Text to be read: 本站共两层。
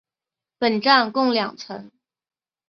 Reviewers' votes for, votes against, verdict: 2, 0, accepted